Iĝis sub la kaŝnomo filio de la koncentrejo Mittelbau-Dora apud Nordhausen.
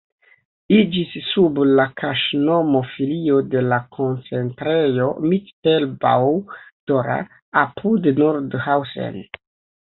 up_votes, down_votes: 2, 1